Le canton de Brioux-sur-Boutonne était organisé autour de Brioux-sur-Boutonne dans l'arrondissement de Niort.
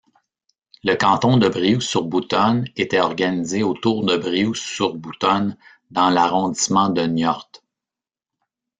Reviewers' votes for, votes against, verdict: 0, 2, rejected